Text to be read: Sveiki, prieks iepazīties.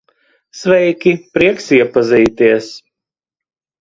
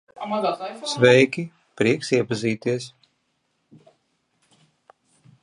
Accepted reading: first